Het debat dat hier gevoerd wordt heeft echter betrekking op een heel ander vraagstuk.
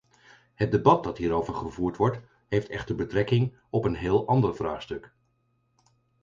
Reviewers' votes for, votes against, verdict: 0, 4, rejected